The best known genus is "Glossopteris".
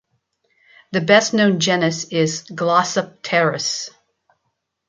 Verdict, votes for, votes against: accepted, 2, 0